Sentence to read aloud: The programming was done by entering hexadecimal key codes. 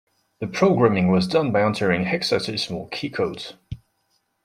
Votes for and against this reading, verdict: 2, 0, accepted